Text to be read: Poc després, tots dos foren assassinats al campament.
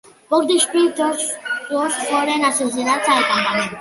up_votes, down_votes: 1, 2